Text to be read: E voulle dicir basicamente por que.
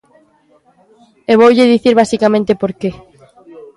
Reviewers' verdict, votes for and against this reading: accepted, 2, 0